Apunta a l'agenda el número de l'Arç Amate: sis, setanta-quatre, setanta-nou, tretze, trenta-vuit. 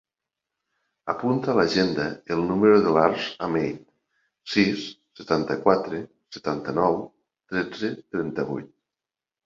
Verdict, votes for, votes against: rejected, 1, 2